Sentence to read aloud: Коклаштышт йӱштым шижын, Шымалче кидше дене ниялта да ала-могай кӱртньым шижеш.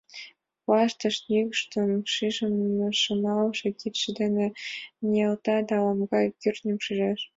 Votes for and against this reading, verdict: 2, 4, rejected